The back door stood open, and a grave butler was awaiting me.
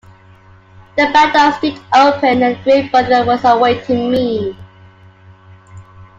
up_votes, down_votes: 1, 2